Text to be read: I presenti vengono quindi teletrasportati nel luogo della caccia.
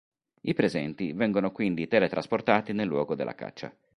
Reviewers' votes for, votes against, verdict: 3, 0, accepted